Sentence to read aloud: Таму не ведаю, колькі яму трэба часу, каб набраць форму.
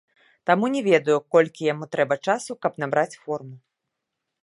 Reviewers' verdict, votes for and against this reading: rejected, 1, 2